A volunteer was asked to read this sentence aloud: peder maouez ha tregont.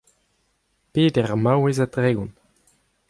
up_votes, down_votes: 2, 0